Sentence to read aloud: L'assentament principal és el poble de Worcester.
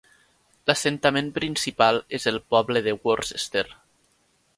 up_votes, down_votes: 1, 2